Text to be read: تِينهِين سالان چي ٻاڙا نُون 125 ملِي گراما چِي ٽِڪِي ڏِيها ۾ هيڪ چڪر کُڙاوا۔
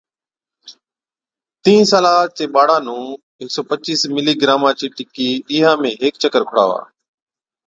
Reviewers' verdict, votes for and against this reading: rejected, 0, 2